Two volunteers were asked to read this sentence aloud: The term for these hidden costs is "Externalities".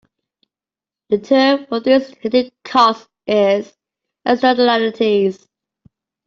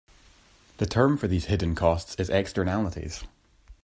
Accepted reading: second